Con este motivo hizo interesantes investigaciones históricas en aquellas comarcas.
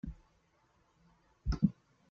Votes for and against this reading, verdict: 0, 2, rejected